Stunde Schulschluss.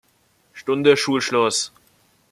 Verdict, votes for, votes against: accepted, 2, 0